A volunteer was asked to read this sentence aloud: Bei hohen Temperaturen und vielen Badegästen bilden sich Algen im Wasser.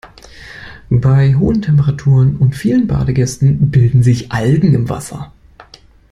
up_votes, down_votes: 2, 0